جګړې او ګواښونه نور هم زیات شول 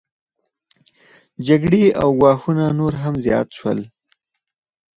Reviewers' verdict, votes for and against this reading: rejected, 2, 4